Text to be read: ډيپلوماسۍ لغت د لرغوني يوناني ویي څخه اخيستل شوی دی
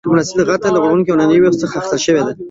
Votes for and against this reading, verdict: 1, 2, rejected